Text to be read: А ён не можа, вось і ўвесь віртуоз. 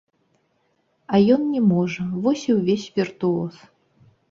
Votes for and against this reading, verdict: 1, 2, rejected